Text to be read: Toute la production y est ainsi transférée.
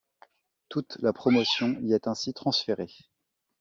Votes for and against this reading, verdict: 1, 2, rejected